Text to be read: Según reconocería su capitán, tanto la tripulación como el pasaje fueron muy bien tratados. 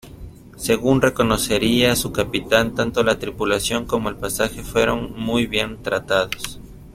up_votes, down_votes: 2, 0